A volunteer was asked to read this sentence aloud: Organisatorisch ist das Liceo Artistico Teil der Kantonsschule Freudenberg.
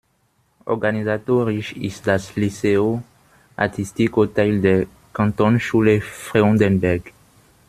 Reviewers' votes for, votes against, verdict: 1, 2, rejected